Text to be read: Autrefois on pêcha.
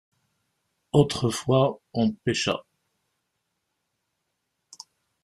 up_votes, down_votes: 2, 0